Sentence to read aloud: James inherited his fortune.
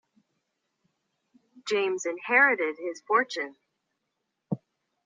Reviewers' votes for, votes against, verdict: 2, 0, accepted